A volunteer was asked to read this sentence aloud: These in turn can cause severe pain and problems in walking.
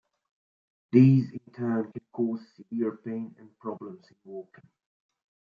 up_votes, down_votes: 3, 2